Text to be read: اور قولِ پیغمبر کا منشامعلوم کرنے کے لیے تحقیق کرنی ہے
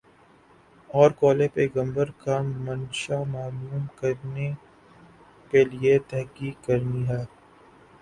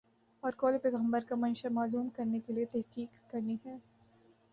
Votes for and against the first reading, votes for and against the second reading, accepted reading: 0, 2, 2, 0, second